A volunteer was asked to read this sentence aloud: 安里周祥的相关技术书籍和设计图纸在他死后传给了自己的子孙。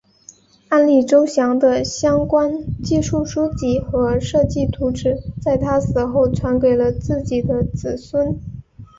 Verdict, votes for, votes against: accepted, 2, 0